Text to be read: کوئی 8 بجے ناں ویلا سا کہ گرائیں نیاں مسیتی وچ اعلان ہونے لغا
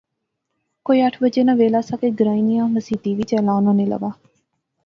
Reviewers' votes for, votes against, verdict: 0, 2, rejected